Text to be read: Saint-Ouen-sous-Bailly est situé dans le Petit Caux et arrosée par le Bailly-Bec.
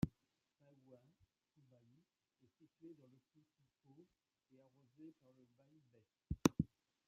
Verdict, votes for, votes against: rejected, 0, 2